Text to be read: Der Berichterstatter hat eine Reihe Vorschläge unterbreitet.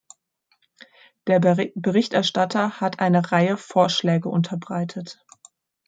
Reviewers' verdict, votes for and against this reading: rejected, 1, 2